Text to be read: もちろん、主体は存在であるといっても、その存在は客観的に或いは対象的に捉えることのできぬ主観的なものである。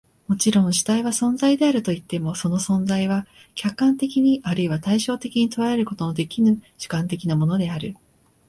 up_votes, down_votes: 2, 0